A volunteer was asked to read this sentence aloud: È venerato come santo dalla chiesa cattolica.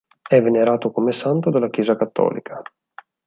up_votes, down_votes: 4, 0